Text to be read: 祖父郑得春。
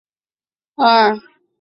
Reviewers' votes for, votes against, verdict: 2, 0, accepted